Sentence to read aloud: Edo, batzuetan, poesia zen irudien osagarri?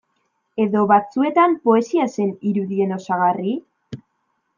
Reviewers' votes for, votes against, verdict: 2, 0, accepted